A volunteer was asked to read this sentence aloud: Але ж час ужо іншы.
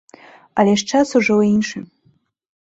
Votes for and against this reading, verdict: 2, 0, accepted